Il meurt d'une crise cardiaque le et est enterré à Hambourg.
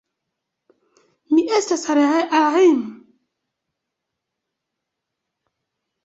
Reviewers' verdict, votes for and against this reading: rejected, 0, 2